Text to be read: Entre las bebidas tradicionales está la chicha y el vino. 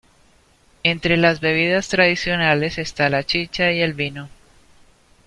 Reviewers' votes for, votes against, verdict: 2, 0, accepted